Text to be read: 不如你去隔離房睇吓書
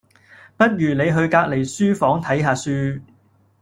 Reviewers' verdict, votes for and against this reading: rejected, 0, 2